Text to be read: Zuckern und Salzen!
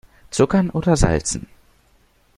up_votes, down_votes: 0, 2